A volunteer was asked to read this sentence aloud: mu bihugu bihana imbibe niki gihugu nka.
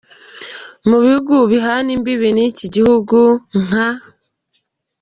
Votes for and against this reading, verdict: 1, 2, rejected